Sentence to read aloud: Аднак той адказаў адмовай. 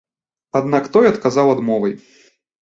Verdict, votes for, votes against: accepted, 2, 0